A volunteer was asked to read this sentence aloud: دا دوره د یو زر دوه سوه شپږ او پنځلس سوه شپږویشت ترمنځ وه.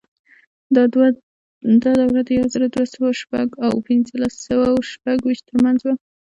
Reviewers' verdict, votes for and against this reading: accepted, 2, 0